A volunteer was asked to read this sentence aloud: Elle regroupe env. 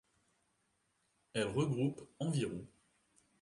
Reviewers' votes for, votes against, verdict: 2, 0, accepted